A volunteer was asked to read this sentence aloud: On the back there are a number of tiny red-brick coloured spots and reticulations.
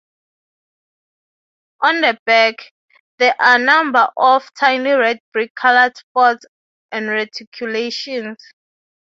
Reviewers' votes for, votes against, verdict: 0, 3, rejected